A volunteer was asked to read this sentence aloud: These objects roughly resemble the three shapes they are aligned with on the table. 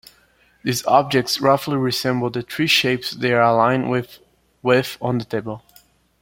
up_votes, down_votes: 0, 2